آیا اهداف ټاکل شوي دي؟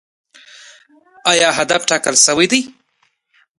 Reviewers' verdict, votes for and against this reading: rejected, 1, 2